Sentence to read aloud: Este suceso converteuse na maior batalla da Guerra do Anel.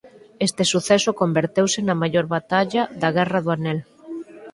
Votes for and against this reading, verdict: 4, 2, accepted